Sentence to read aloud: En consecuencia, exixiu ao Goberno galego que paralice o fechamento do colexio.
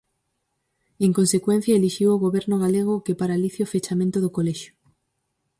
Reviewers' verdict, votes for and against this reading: rejected, 0, 4